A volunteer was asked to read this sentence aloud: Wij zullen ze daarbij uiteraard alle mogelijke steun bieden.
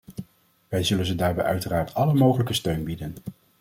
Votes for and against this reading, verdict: 2, 0, accepted